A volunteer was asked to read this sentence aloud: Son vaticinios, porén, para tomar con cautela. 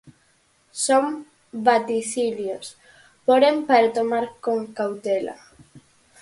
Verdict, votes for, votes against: accepted, 4, 0